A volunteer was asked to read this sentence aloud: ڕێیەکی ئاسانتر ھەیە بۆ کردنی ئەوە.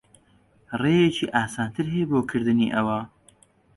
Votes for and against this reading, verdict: 2, 0, accepted